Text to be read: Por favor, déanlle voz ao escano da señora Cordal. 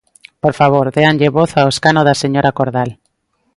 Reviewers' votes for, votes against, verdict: 2, 0, accepted